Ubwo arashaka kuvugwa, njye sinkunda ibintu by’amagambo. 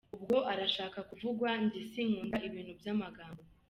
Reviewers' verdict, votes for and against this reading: accepted, 2, 0